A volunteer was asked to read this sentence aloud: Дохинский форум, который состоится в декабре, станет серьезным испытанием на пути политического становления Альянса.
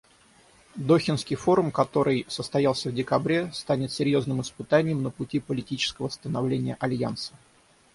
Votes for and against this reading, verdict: 0, 6, rejected